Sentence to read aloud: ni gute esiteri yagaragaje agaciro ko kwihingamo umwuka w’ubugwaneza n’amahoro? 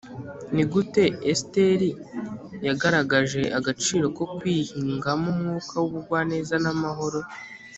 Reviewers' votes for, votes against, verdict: 2, 0, accepted